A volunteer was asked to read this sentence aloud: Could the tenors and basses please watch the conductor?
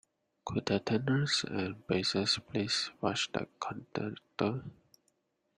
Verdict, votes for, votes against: accepted, 2, 1